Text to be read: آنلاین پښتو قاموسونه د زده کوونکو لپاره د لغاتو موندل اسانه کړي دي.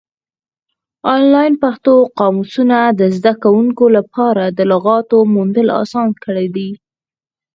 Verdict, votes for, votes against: rejected, 0, 4